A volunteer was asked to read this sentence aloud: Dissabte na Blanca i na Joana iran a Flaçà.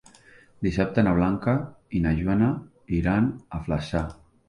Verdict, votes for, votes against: rejected, 1, 2